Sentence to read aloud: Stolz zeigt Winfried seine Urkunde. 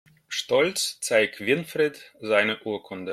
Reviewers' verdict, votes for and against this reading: accepted, 2, 0